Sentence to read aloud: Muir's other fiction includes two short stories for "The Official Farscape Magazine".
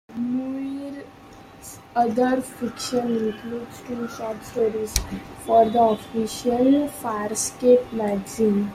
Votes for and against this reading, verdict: 0, 2, rejected